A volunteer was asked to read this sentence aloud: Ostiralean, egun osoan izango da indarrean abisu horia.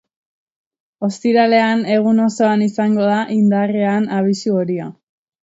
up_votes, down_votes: 3, 0